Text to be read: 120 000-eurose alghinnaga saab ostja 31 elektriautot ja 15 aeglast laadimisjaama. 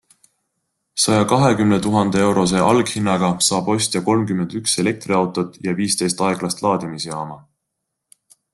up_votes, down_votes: 0, 2